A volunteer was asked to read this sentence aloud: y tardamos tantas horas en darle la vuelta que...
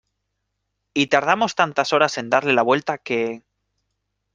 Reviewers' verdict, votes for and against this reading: accepted, 2, 0